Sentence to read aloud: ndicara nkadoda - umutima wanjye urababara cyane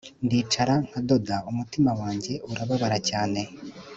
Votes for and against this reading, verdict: 2, 0, accepted